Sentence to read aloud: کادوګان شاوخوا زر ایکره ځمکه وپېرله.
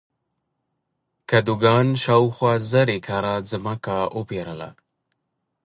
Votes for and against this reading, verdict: 2, 0, accepted